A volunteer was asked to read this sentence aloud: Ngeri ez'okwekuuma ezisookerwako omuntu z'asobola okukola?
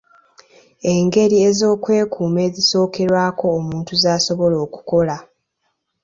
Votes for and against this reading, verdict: 0, 2, rejected